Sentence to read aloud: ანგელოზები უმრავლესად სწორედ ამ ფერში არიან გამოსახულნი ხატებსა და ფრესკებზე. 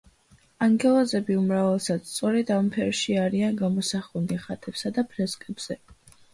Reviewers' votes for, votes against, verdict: 2, 0, accepted